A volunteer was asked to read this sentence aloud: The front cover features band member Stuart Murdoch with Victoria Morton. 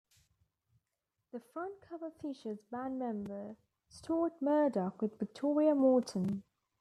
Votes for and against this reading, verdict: 2, 0, accepted